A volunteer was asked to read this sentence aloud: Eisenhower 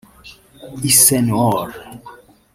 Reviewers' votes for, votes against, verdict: 0, 2, rejected